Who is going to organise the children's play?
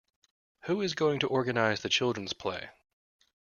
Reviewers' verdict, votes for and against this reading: accepted, 2, 0